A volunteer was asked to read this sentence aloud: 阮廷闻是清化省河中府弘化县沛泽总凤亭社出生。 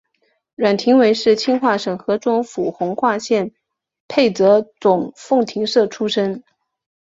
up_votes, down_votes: 2, 0